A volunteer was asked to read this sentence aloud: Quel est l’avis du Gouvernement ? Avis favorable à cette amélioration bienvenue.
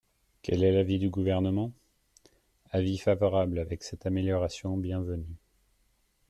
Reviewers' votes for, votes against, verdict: 1, 2, rejected